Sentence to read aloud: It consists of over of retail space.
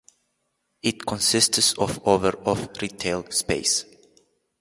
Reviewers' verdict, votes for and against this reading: rejected, 0, 2